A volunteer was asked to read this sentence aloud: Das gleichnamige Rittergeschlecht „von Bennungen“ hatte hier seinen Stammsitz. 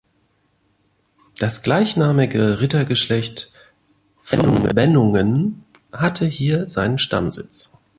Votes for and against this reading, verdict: 0, 2, rejected